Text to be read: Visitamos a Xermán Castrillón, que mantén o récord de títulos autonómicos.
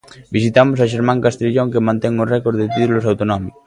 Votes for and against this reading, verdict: 0, 2, rejected